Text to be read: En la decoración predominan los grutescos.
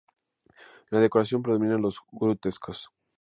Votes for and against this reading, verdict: 2, 2, rejected